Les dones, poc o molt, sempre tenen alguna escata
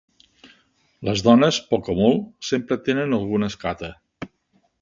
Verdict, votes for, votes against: accepted, 4, 0